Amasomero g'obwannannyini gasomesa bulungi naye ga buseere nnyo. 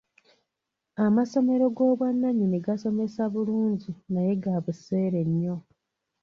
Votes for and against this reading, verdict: 2, 0, accepted